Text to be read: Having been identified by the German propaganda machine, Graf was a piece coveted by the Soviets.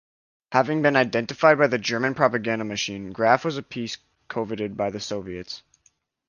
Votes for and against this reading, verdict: 0, 2, rejected